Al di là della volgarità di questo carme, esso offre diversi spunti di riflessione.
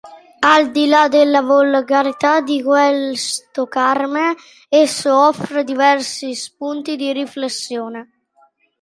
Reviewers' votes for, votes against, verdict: 0, 2, rejected